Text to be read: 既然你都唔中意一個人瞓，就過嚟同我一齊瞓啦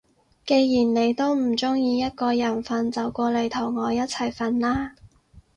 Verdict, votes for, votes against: accepted, 6, 0